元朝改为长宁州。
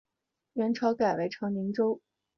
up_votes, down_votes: 1, 2